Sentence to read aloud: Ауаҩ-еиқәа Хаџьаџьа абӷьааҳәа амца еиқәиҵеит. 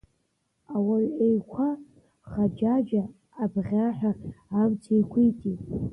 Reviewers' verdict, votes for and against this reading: rejected, 1, 2